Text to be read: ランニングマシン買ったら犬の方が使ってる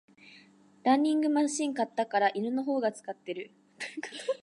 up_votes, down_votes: 1, 2